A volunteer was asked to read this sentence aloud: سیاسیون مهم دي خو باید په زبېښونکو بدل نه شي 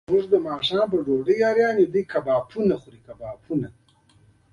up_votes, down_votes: 1, 2